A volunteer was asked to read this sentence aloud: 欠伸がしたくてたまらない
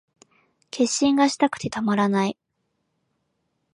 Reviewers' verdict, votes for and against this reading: rejected, 0, 2